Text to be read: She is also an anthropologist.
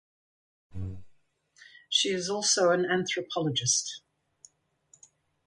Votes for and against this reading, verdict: 4, 0, accepted